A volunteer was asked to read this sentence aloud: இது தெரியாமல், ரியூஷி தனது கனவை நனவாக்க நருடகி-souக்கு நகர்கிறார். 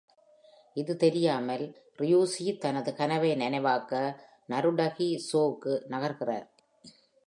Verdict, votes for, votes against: accepted, 2, 1